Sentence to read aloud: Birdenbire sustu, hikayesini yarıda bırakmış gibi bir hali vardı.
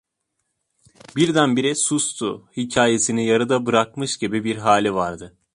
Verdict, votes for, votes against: accepted, 2, 0